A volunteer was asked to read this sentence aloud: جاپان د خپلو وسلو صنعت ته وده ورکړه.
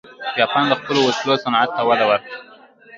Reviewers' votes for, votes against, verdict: 0, 2, rejected